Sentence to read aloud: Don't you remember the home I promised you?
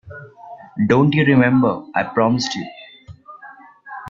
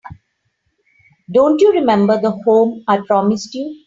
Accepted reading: second